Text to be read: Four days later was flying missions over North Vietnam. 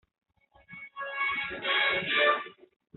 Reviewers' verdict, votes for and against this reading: rejected, 0, 2